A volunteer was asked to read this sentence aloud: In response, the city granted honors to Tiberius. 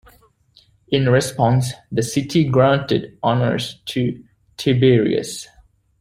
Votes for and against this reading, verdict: 1, 2, rejected